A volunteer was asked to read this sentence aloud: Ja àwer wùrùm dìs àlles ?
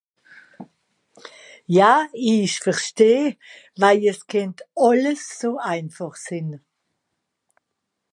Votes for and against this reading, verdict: 0, 2, rejected